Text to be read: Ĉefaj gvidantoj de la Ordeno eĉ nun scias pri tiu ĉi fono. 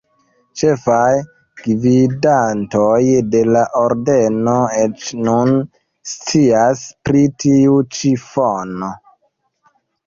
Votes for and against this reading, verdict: 1, 2, rejected